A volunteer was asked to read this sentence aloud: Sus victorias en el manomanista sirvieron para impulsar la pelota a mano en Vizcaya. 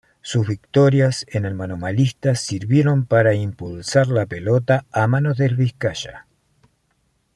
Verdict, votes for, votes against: accepted, 2, 1